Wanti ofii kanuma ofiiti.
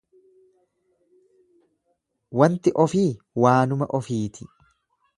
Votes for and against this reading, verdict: 1, 2, rejected